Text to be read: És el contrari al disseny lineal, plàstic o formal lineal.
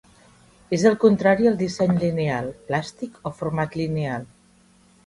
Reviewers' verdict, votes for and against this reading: accepted, 2, 1